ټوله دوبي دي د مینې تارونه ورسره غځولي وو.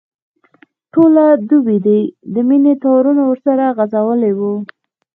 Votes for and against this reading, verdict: 3, 0, accepted